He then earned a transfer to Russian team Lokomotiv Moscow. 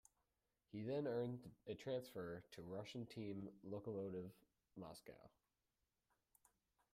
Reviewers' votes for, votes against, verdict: 1, 2, rejected